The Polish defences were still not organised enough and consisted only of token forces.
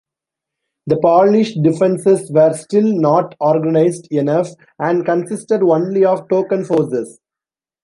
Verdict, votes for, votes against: accepted, 2, 0